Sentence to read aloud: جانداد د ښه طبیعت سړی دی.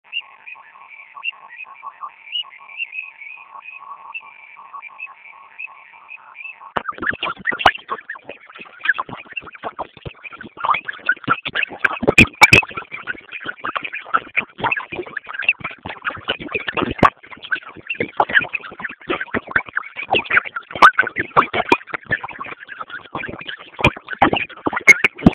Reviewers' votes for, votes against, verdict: 0, 2, rejected